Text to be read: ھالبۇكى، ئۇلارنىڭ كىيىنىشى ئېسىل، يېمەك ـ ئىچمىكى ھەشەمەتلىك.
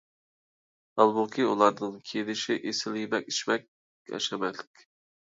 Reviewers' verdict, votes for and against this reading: rejected, 0, 3